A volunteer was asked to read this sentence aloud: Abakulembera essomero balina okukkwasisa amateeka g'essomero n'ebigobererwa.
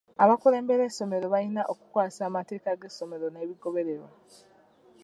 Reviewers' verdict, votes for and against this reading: accepted, 2, 0